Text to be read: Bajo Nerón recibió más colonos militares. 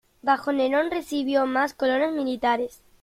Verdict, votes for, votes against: accepted, 3, 0